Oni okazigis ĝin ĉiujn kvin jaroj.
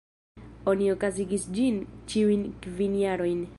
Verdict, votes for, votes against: rejected, 1, 2